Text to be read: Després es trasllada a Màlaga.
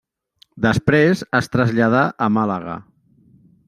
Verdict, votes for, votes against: rejected, 0, 2